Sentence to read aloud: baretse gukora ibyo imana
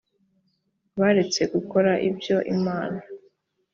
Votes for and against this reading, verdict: 2, 0, accepted